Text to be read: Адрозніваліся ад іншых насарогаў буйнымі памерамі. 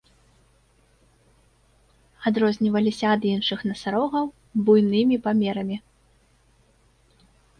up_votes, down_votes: 2, 0